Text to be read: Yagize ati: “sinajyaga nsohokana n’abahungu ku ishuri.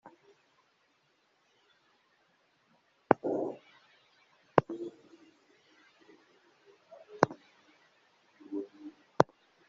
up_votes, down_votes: 0, 2